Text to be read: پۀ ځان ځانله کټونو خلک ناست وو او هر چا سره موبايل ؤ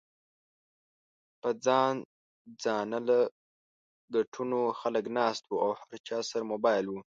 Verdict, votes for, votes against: rejected, 1, 2